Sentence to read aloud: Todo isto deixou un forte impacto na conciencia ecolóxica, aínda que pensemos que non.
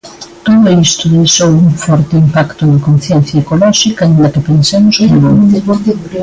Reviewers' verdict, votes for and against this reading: rejected, 1, 2